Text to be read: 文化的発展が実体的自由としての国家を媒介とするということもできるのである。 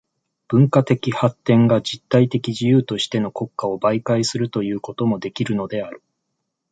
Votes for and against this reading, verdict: 1, 2, rejected